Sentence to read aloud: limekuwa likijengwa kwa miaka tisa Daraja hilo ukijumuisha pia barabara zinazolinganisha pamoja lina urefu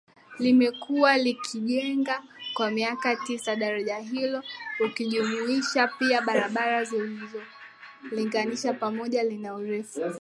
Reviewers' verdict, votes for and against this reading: accepted, 2, 0